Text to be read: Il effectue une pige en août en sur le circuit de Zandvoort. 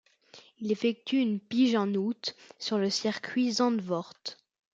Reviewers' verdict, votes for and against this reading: accepted, 2, 0